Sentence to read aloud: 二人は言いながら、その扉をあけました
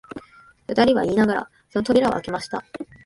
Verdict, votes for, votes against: rejected, 0, 2